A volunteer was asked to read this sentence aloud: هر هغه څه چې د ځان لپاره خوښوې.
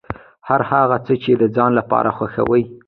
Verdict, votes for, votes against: rejected, 0, 2